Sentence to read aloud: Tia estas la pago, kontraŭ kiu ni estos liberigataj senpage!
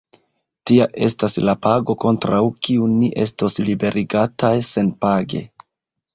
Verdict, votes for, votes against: accepted, 2, 0